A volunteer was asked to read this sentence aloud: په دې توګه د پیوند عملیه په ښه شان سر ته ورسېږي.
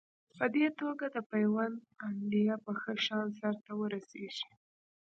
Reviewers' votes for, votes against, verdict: 2, 0, accepted